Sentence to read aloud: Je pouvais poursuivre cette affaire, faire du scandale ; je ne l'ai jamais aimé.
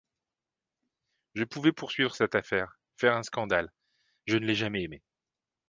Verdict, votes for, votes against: rejected, 0, 2